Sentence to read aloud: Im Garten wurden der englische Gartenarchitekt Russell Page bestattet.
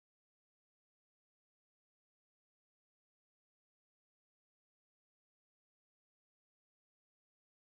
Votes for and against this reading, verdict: 0, 2, rejected